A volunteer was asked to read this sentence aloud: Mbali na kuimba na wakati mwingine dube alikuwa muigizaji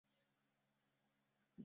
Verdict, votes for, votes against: rejected, 0, 3